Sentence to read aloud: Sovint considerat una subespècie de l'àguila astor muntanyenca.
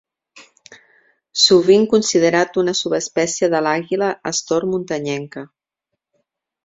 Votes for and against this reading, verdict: 2, 0, accepted